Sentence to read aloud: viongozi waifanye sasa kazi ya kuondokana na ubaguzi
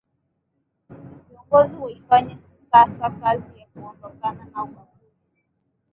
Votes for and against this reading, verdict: 2, 1, accepted